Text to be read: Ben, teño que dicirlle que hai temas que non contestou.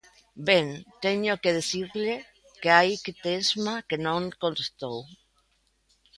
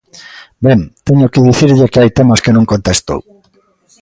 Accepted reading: second